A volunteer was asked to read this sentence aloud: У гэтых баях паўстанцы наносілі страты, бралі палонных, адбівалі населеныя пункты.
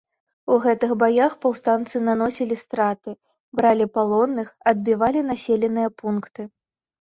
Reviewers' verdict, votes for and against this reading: accepted, 2, 0